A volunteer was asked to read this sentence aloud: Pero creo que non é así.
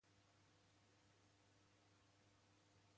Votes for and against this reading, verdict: 0, 2, rejected